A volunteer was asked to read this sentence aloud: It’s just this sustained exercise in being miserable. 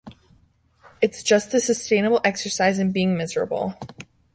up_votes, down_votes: 1, 2